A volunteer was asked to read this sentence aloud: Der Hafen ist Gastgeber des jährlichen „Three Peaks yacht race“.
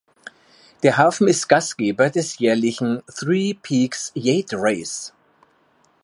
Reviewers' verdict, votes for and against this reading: rejected, 0, 2